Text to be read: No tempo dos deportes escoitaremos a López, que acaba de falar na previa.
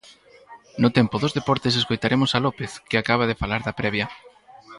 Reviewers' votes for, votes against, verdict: 0, 4, rejected